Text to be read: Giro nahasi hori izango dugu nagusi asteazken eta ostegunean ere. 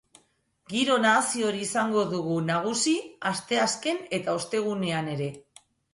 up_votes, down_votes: 2, 0